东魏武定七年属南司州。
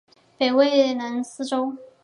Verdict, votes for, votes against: accepted, 2, 0